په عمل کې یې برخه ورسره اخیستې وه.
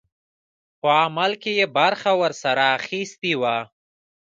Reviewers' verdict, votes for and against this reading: accepted, 2, 0